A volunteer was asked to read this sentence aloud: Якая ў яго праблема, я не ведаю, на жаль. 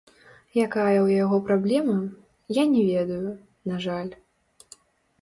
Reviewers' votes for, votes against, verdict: 0, 3, rejected